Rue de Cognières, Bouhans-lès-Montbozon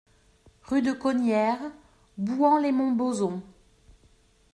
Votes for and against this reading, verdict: 2, 0, accepted